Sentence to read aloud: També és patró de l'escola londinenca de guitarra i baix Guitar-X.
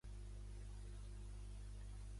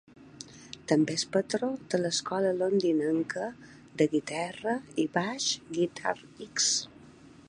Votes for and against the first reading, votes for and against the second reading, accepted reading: 0, 2, 2, 0, second